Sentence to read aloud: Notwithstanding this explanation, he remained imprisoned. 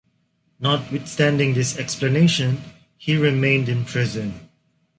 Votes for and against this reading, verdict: 1, 2, rejected